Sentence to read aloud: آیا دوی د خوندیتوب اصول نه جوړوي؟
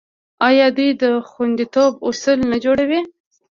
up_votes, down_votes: 0, 2